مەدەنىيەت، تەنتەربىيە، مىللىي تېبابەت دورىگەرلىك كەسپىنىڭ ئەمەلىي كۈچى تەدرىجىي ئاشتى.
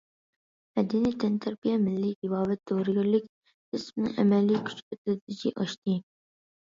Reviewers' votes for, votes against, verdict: 1, 2, rejected